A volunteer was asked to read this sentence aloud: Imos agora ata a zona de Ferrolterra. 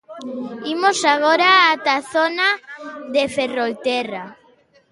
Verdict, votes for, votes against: accepted, 2, 0